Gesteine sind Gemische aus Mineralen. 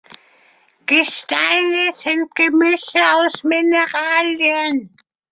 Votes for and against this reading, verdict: 1, 2, rejected